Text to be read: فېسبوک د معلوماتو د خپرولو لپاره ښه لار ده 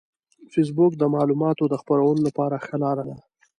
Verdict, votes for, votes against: accepted, 2, 1